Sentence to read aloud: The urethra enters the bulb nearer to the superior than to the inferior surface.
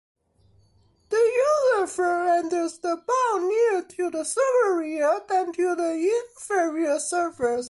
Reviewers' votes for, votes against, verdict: 0, 2, rejected